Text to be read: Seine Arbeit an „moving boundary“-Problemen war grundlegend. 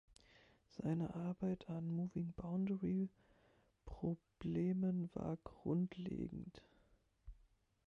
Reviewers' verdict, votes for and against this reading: rejected, 1, 2